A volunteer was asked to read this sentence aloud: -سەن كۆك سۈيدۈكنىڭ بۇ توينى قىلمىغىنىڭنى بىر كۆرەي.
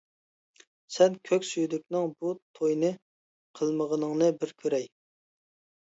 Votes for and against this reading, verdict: 2, 0, accepted